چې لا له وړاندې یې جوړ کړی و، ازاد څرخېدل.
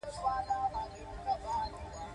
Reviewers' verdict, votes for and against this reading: rejected, 0, 2